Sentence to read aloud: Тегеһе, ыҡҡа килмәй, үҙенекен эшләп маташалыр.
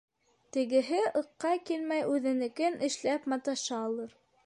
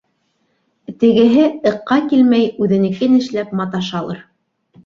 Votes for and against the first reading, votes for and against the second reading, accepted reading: 0, 2, 2, 0, second